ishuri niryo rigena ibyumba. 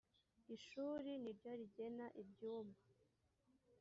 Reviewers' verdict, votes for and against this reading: rejected, 1, 2